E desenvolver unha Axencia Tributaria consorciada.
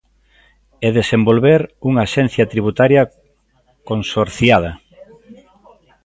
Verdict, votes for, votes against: rejected, 1, 2